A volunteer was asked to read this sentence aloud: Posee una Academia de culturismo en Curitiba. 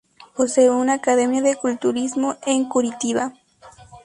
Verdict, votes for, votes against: accepted, 4, 0